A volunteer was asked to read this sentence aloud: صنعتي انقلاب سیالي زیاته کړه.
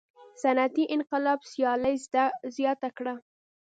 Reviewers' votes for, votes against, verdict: 1, 2, rejected